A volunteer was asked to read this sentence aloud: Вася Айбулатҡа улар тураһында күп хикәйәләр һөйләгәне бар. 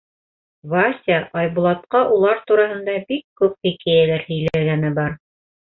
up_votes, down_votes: 2, 1